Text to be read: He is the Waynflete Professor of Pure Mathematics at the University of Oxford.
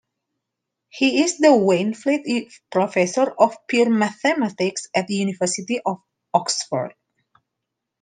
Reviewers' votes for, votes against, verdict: 0, 2, rejected